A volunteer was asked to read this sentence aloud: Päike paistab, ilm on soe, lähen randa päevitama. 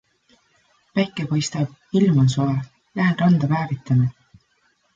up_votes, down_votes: 2, 0